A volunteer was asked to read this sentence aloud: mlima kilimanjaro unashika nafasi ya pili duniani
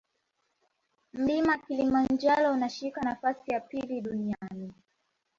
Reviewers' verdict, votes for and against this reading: rejected, 1, 2